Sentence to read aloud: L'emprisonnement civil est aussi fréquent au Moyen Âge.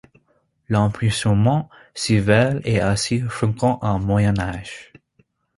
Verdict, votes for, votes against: accepted, 2, 0